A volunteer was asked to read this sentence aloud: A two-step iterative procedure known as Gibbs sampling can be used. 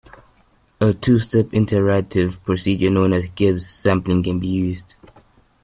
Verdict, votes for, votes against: rejected, 0, 2